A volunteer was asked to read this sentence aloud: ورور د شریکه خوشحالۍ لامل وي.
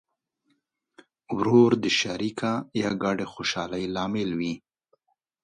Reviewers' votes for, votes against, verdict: 0, 2, rejected